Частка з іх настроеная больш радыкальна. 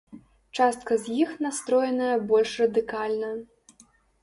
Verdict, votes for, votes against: accepted, 2, 0